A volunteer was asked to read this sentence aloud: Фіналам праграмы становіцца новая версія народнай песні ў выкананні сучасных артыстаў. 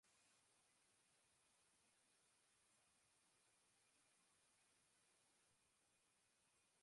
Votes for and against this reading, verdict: 0, 2, rejected